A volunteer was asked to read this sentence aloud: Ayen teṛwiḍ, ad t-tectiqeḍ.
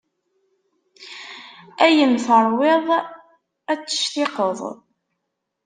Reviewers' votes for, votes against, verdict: 2, 0, accepted